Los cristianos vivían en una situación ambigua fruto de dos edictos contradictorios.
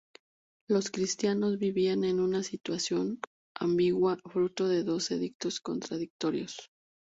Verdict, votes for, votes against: rejected, 0, 2